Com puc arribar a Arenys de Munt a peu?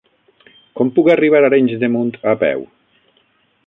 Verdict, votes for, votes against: accepted, 9, 0